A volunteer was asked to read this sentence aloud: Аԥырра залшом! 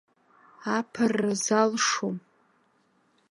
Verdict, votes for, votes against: accepted, 2, 0